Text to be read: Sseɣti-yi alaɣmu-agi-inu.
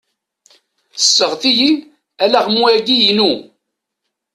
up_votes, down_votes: 2, 0